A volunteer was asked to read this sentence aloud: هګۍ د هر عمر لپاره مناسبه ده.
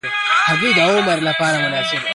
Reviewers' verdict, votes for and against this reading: rejected, 0, 2